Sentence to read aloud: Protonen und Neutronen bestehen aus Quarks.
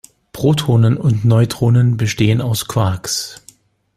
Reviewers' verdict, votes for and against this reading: accepted, 2, 0